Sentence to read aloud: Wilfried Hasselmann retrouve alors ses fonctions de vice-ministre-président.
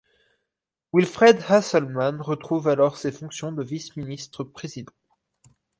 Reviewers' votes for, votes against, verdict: 0, 4, rejected